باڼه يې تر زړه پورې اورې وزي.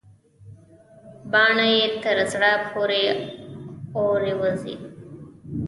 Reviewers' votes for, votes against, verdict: 1, 2, rejected